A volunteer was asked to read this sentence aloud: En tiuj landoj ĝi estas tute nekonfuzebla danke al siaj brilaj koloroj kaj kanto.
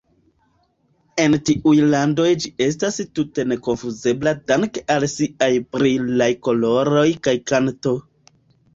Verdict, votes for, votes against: rejected, 1, 2